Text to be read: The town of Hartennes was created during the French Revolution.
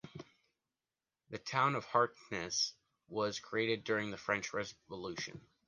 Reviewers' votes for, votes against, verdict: 0, 2, rejected